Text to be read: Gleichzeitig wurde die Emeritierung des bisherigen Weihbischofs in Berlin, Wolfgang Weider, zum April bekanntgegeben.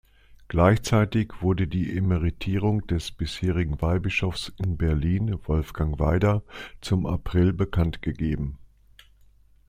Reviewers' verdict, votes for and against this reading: accepted, 2, 0